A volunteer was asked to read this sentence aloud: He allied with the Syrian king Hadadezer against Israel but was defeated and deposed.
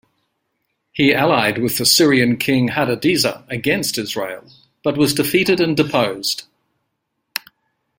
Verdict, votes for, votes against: accepted, 2, 1